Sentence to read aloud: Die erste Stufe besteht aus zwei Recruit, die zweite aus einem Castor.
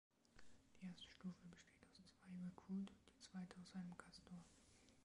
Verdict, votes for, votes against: rejected, 1, 2